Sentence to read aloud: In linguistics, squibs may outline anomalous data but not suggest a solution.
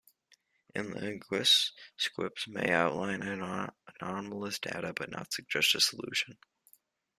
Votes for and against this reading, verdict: 0, 2, rejected